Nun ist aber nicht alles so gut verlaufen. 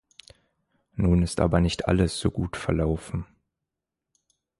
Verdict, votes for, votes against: accepted, 2, 0